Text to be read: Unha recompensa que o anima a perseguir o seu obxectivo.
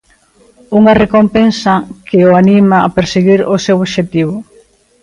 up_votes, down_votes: 1, 2